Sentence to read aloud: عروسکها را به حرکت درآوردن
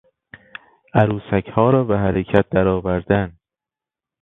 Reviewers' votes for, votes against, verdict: 2, 0, accepted